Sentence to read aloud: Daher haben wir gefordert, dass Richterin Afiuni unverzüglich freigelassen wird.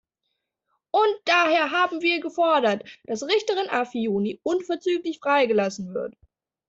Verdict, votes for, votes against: rejected, 0, 2